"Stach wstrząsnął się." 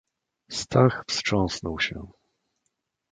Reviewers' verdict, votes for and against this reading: accepted, 2, 0